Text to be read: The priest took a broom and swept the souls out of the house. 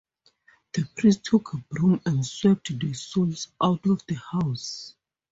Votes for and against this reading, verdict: 4, 0, accepted